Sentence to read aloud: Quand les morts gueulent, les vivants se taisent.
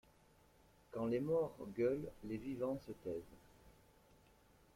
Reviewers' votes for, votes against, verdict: 2, 0, accepted